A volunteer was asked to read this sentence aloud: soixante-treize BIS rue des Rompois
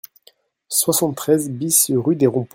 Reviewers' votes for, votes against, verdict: 1, 2, rejected